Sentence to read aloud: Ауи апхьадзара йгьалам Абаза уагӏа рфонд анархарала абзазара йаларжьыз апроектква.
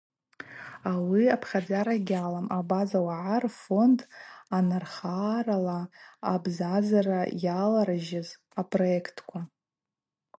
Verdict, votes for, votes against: accepted, 2, 0